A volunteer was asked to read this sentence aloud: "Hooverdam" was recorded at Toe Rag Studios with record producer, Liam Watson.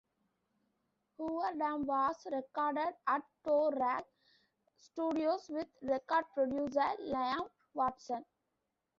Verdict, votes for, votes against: accepted, 2, 1